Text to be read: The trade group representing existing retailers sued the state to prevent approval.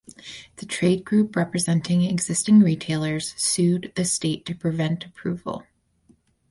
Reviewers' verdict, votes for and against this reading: rejected, 2, 2